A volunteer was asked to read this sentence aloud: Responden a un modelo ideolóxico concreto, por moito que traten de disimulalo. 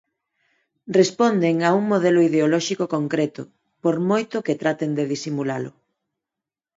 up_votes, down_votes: 4, 2